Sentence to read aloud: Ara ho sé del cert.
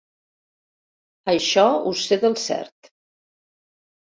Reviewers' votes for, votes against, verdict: 0, 2, rejected